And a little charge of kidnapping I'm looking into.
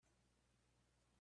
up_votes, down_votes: 0, 2